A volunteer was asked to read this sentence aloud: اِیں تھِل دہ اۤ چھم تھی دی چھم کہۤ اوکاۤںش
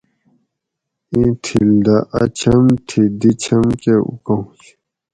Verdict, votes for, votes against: rejected, 2, 2